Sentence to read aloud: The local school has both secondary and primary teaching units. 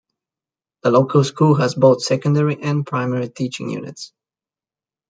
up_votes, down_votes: 2, 0